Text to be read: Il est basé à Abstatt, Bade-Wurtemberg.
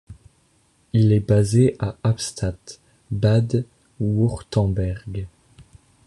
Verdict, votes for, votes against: rejected, 0, 2